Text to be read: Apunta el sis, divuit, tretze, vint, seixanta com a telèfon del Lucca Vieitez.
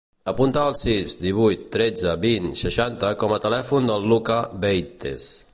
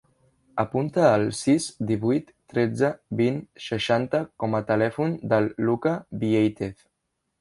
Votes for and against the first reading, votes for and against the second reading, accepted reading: 1, 2, 2, 0, second